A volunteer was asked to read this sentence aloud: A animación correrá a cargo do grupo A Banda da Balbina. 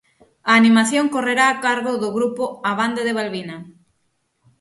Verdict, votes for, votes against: rejected, 3, 6